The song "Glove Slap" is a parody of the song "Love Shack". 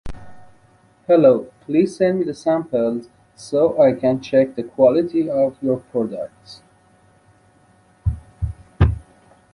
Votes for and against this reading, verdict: 0, 2, rejected